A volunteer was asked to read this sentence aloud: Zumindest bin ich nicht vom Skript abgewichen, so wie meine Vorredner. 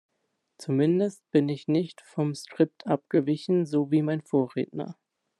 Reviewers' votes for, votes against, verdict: 0, 3, rejected